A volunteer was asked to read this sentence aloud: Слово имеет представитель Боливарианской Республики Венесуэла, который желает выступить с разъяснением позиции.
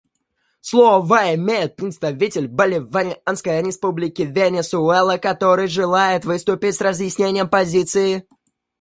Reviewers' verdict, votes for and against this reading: rejected, 1, 2